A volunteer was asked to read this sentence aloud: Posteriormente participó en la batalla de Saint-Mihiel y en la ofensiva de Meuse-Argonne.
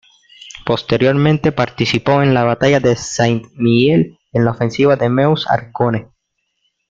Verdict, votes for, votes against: rejected, 1, 2